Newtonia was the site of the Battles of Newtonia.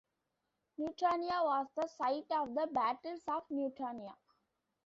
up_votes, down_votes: 2, 1